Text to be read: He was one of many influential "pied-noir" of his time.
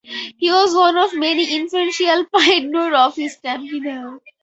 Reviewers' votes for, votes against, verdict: 2, 4, rejected